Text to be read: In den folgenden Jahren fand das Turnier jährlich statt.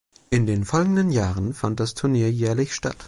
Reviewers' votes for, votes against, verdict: 2, 0, accepted